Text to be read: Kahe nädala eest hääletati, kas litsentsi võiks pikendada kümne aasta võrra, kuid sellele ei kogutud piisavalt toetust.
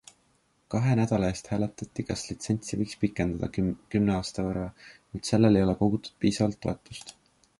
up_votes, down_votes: 2, 0